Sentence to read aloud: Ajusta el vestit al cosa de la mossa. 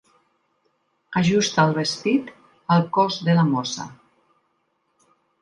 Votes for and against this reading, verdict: 1, 2, rejected